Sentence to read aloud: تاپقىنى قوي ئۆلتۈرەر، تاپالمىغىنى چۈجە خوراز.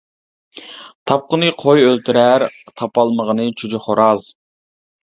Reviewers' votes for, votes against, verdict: 2, 0, accepted